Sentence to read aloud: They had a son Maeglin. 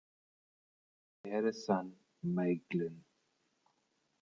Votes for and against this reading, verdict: 0, 2, rejected